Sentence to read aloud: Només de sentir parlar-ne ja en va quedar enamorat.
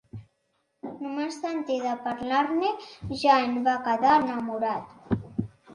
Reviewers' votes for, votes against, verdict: 2, 1, accepted